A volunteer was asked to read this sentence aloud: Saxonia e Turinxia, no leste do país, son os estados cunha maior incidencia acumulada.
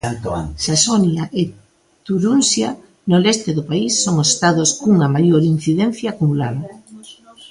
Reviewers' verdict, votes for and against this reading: rejected, 0, 2